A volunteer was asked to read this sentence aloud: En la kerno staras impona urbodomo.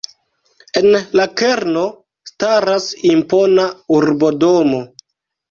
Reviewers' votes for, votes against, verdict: 0, 2, rejected